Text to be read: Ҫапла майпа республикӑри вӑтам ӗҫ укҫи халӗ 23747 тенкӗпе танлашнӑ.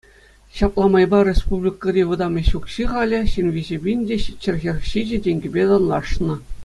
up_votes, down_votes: 0, 2